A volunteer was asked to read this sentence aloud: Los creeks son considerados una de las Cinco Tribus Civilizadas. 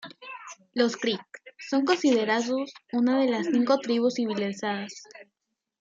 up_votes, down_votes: 2, 0